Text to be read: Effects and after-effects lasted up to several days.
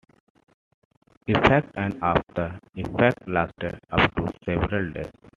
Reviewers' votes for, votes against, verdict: 2, 0, accepted